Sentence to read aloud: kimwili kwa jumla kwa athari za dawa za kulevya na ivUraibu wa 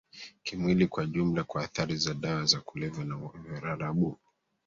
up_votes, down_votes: 1, 2